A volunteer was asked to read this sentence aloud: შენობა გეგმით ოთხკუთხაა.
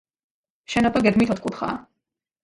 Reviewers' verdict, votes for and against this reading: rejected, 1, 2